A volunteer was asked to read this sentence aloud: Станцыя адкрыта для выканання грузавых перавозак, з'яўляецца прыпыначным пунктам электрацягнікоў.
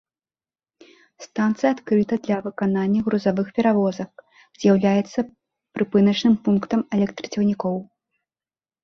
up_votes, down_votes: 2, 1